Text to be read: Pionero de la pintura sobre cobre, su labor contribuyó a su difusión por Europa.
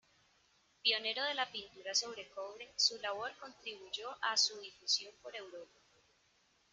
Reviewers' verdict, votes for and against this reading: accepted, 2, 0